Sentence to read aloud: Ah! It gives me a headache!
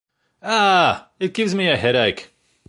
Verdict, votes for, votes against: accepted, 2, 0